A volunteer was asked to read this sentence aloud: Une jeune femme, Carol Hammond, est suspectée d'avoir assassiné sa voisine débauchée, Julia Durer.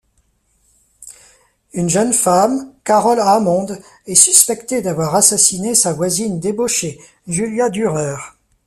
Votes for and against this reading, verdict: 1, 2, rejected